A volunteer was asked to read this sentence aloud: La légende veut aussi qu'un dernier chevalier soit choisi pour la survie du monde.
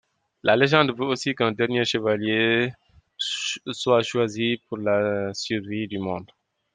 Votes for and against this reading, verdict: 0, 3, rejected